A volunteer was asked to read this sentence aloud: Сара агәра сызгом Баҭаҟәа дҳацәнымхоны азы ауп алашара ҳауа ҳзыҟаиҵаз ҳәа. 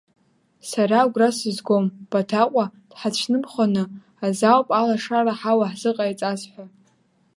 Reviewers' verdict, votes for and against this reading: rejected, 1, 2